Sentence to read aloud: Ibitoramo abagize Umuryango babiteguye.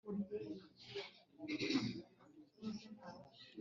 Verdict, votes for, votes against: rejected, 0, 2